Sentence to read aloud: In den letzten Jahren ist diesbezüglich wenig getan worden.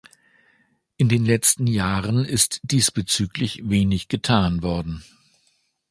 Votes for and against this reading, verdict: 2, 0, accepted